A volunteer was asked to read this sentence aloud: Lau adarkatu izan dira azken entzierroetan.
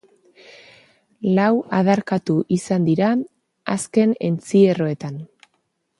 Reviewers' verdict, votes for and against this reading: accepted, 2, 0